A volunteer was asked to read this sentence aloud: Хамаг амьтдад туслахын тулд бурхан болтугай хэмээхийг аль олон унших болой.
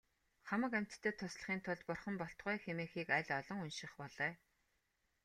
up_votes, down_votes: 2, 0